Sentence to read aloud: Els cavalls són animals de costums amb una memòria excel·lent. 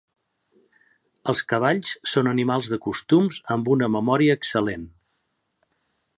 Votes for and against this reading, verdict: 2, 0, accepted